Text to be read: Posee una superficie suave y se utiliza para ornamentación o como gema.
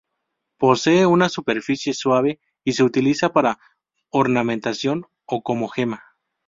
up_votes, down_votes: 4, 0